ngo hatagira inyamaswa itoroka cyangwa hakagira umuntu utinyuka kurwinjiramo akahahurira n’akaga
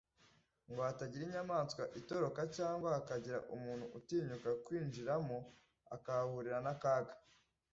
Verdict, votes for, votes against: accepted, 2, 0